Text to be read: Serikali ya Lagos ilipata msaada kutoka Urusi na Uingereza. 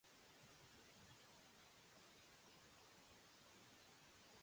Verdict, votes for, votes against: rejected, 0, 2